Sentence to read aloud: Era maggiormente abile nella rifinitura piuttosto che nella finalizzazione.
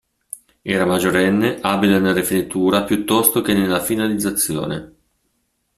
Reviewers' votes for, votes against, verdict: 0, 2, rejected